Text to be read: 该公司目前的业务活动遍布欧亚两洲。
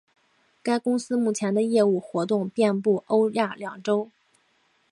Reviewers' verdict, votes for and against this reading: accepted, 6, 0